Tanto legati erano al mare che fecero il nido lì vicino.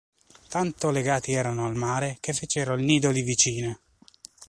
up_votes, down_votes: 2, 0